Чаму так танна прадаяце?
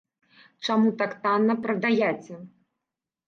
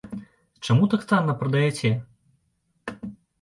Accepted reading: second